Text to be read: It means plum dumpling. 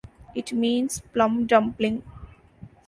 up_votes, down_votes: 2, 0